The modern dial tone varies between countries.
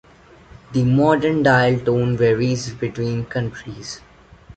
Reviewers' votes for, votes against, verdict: 2, 0, accepted